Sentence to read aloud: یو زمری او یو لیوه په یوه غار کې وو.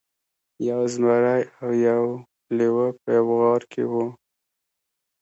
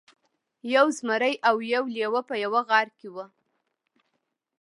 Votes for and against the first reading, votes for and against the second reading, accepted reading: 0, 2, 2, 0, second